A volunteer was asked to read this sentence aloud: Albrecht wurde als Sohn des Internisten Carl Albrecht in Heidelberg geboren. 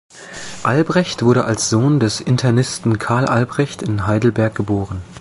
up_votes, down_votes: 2, 0